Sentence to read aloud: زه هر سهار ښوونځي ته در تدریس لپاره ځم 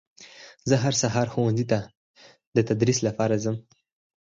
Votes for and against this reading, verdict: 0, 4, rejected